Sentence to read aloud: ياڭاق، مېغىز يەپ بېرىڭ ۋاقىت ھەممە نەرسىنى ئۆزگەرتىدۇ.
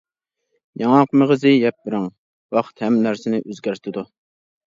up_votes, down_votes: 1, 2